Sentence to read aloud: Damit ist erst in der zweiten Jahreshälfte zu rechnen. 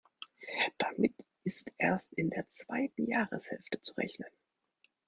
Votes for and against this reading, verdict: 2, 0, accepted